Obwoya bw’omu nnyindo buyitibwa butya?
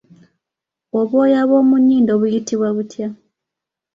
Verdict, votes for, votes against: accepted, 2, 0